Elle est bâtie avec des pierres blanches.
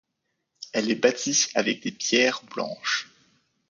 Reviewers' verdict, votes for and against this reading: rejected, 0, 2